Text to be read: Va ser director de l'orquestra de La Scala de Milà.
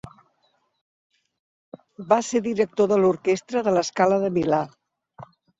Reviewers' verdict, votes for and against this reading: accepted, 2, 0